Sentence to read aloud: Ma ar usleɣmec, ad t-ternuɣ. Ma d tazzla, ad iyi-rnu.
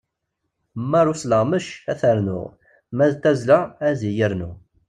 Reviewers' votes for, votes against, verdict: 2, 1, accepted